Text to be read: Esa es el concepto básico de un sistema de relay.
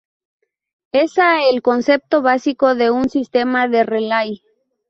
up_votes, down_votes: 0, 2